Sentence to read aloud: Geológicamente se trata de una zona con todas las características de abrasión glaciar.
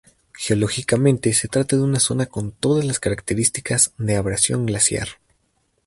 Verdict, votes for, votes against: accepted, 2, 0